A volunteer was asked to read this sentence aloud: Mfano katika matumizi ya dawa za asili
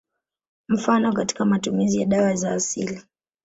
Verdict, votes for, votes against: accepted, 3, 0